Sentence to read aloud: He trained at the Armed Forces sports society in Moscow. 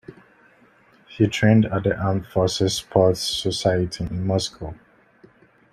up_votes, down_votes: 1, 2